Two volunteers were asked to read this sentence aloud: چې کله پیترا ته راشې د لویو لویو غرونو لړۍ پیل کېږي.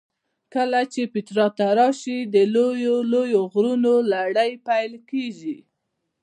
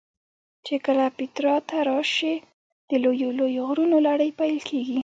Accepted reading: first